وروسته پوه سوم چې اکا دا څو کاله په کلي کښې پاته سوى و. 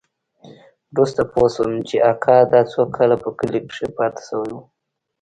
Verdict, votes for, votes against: accepted, 3, 0